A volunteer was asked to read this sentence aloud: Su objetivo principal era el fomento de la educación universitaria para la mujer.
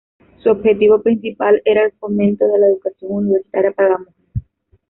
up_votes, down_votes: 1, 2